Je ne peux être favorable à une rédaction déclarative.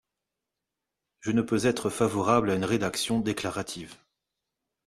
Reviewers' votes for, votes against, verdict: 2, 0, accepted